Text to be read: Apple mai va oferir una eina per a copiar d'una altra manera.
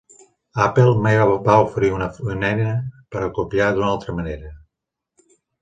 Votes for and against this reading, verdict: 0, 2, rejected